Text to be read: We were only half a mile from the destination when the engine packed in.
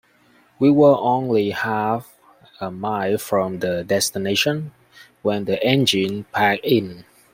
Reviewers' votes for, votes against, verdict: 1, 2, rejected